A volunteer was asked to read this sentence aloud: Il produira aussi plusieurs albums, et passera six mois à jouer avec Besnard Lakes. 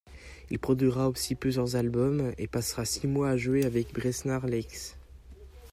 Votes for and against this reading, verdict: 2, 0, accepted